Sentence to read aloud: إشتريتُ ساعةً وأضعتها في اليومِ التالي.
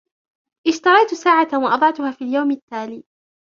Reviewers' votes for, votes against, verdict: 2, 0, accepted